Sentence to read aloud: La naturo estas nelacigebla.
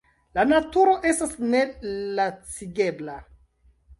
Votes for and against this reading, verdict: 2, 0, accepted